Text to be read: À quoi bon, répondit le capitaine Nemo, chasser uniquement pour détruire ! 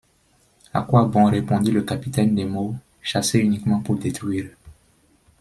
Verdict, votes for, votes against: accepted, 2, 0